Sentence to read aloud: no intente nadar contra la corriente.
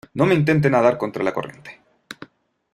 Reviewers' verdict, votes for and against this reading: rejected, 0, 2